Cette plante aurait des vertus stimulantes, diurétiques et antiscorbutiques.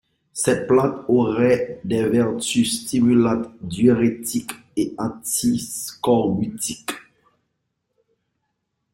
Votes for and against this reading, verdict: 2, 0, accepted